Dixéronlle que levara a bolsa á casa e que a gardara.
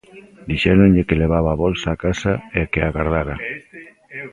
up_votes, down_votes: 0, 2